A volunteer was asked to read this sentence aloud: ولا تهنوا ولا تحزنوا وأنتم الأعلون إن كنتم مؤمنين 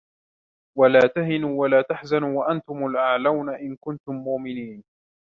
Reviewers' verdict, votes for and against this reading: accepted, 2, 1